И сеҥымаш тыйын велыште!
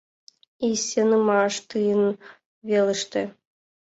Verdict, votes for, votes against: rejected, 1, 3